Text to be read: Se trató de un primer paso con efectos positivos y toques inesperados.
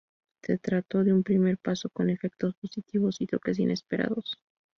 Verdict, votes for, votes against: accepted, 2, 0